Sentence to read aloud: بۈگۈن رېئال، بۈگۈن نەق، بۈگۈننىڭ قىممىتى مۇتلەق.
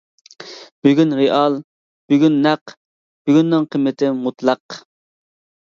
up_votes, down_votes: 2, 0